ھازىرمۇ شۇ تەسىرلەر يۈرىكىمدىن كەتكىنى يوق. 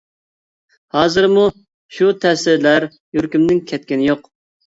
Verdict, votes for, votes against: accepted, 2, 0